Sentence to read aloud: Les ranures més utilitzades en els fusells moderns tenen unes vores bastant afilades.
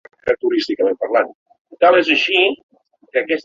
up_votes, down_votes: 1, 2